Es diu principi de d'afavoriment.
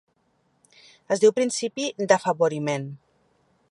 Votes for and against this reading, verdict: 1, 3, rejected